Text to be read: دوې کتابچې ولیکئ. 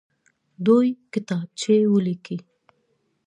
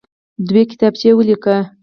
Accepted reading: second